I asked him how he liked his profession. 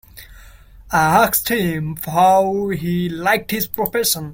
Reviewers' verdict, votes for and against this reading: rejected, 0, 2